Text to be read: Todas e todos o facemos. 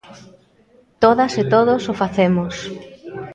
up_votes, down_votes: 2, 0